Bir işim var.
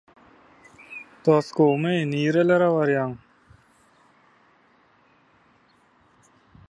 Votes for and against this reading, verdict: 0, 2, rejected